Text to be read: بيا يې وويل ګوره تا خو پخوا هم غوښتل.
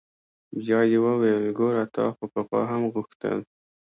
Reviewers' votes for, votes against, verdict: 2, 0, accepted